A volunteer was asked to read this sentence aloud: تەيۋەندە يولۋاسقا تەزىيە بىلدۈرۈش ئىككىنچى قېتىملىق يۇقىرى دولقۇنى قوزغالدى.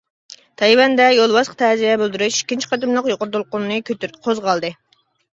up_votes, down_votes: 0, 2